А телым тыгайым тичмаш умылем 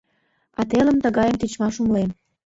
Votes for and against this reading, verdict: 2, 0, accepted